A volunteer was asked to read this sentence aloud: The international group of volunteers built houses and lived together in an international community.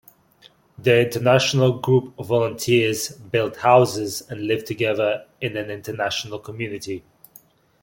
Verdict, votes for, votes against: accepted, 2, 1